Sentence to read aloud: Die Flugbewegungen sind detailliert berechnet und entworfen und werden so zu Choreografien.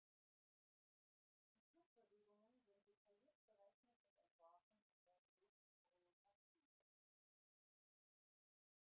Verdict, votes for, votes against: rejected, 0, 2